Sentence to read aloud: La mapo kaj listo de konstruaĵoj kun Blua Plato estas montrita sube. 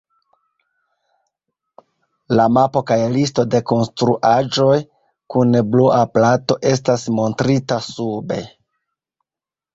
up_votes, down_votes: 2, 1